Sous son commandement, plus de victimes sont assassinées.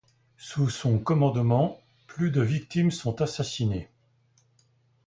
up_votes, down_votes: 2, 0